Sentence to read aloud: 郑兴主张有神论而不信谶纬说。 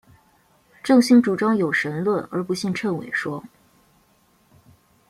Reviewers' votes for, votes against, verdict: 3, 0, accepted